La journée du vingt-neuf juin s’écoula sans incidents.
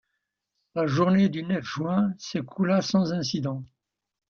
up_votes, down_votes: 1, 2